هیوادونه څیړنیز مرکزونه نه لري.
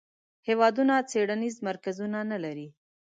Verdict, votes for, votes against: accepted, 2, 0